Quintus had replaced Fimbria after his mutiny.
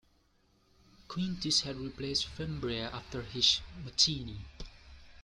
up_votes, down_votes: 0, 2